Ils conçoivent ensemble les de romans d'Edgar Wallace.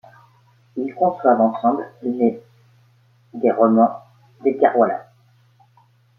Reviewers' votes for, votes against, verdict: 1, 2, rejected